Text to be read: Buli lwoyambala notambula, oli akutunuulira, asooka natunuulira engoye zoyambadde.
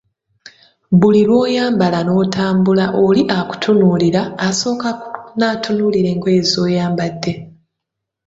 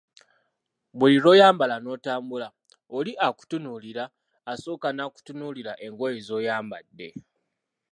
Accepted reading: first